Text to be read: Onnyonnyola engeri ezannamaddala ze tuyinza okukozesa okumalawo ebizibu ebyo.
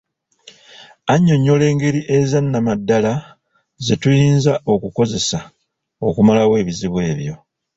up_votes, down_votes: 2, 1